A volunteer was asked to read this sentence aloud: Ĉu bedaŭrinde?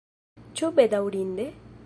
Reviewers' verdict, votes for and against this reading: accepted, 2, 0